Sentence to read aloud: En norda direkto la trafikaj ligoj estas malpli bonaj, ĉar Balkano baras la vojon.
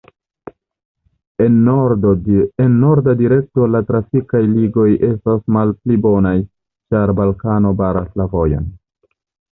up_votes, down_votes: 1, 2